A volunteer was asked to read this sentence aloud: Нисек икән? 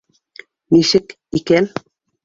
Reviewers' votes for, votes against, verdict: 2, 0, accepted